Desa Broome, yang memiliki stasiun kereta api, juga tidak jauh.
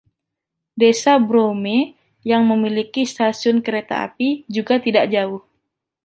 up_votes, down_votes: 2, 0